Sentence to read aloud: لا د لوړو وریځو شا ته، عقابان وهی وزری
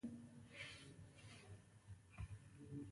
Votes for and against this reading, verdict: 0, 2, rejected